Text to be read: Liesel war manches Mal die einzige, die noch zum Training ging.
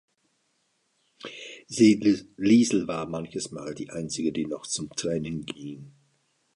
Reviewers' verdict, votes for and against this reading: rejected, 0, 4